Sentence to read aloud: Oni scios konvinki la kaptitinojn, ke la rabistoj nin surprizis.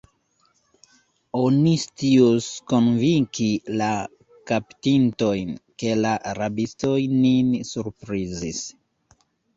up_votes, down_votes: 0, 2